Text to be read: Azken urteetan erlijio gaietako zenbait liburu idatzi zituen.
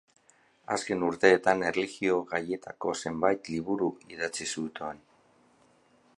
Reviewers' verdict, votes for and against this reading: rejected, 0, 2